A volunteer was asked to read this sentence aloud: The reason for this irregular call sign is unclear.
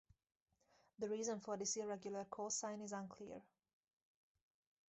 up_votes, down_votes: 4, 0